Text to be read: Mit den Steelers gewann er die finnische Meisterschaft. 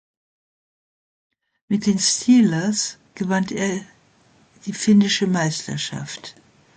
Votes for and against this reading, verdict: 2, 0, accepted